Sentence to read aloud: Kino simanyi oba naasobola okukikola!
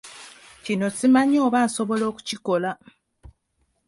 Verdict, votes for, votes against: rejected, 1, 2